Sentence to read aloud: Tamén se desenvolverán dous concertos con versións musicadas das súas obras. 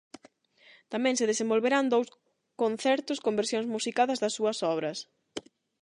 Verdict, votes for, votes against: rejected, 4, 4